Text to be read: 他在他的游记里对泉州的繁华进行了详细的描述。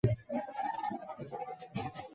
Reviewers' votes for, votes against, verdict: 0, 3, rejected